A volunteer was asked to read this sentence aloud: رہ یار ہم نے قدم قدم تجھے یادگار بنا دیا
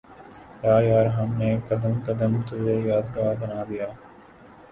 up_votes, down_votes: 1, 2